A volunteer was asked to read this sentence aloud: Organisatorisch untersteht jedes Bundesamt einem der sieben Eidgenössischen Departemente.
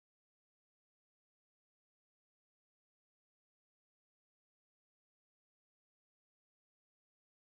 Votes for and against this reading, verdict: 0, 2, rejected